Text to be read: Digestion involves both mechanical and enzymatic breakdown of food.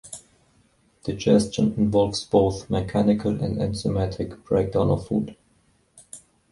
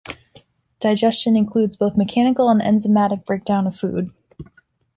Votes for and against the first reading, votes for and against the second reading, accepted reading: 2, 1, 0, 2, first